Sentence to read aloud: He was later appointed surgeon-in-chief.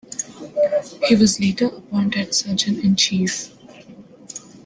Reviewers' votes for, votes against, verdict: 2, 1, accepted